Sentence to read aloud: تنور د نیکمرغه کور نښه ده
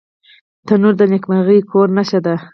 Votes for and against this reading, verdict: 2, 4, rejected